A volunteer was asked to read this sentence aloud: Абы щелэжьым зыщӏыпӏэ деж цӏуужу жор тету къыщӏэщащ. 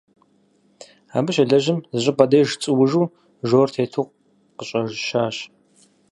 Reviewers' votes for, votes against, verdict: 2, 4, rejected